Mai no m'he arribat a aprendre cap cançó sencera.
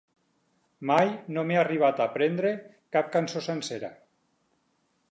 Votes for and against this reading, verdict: 4, 2, accepted